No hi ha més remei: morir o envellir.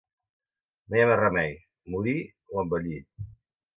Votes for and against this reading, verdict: 0, 2, rejected